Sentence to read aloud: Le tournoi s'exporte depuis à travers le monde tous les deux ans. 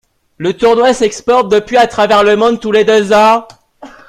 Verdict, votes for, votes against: rejected, 0, 2